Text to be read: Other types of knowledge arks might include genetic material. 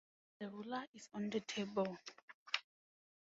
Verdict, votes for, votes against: rejected, 0, 4